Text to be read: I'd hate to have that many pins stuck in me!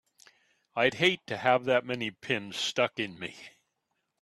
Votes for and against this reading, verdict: 2, 0, accepted